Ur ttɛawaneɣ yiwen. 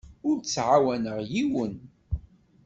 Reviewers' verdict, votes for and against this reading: accepted, 2, 0